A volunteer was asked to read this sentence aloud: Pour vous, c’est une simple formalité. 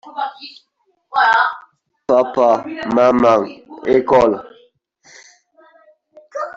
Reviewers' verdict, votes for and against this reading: rejected, 0, 2